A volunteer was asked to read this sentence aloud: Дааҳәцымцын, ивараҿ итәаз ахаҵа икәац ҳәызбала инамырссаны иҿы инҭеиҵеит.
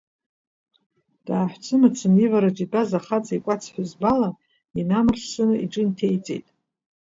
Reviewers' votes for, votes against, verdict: 2, 1, accepted